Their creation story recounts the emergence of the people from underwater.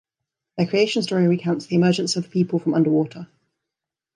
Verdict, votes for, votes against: accepted, 2, 0